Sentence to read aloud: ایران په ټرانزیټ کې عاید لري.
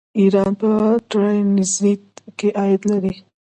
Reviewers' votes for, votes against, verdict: 2, 0, accepted